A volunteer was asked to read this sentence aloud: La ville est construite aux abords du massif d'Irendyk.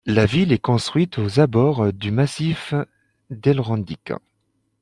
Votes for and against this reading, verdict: 1, 2, rejected